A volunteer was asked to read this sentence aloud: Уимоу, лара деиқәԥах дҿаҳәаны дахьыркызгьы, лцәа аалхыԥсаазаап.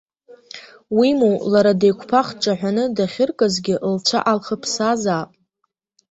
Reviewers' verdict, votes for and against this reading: accepted, 2, 0